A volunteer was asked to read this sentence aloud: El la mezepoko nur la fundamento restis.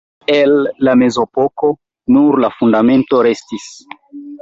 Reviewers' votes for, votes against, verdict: 1, 2, rejected